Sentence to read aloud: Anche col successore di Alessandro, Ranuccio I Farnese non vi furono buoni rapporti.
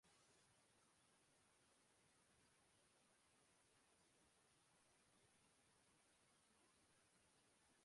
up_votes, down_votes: 0, 2